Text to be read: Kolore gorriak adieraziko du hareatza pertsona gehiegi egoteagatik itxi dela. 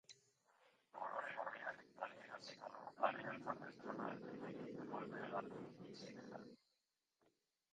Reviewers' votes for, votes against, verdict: 1, 2, rejected